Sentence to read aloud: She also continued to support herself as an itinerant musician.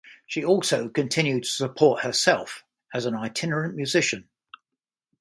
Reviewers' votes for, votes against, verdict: 2, 0, accepted